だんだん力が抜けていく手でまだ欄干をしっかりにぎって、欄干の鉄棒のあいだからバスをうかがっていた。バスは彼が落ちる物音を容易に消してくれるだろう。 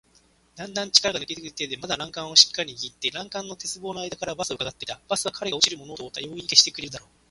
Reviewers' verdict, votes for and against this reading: rejected, 0, 2